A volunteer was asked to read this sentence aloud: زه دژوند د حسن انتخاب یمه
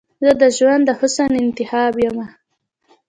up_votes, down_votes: 1, 2